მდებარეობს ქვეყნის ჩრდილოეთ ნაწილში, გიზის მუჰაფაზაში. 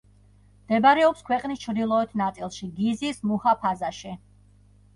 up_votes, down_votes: 1, 2